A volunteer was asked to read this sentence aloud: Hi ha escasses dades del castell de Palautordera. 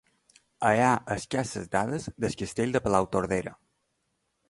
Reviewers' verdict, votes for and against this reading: rejected, 0, 2